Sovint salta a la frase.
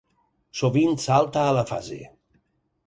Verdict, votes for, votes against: rejected, 0, 4